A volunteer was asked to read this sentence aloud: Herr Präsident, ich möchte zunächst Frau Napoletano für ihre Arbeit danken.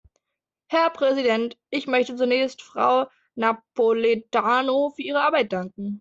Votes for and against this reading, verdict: 2, 0, accepted